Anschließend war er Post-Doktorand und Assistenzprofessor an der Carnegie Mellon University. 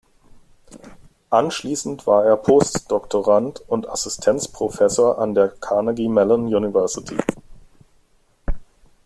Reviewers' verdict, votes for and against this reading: rejected, 1, 2